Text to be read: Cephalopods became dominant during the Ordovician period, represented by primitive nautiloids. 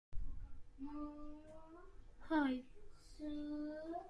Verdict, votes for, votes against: rejected, 0, 2